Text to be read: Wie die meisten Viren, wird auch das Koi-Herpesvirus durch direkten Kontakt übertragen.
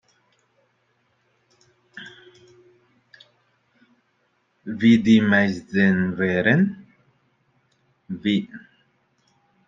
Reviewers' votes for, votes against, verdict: 0, 2, rejected